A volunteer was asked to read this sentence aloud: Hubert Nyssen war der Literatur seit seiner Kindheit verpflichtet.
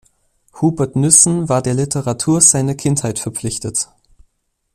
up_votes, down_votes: 1, 2